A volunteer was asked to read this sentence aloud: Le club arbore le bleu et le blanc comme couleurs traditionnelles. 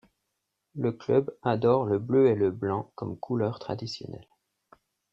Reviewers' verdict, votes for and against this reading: rejected, 0, 2